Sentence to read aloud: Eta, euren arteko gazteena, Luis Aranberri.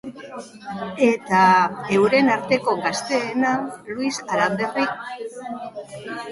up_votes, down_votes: 0, 2